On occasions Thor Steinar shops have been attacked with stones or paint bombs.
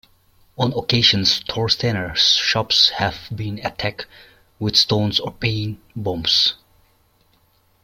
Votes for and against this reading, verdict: 1, 2, rejected